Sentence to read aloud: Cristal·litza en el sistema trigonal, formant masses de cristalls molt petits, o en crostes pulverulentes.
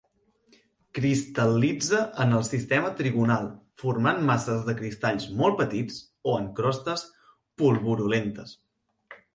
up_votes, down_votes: 2, 4